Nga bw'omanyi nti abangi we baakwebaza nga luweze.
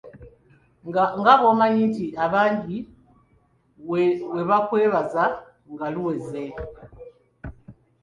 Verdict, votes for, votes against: rejected, 1, 2